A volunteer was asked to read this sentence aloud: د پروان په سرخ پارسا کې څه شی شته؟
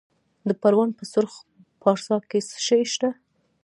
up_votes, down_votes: 1, 2